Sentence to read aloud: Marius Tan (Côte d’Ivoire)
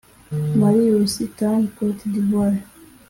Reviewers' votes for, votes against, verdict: 0, 2, rejected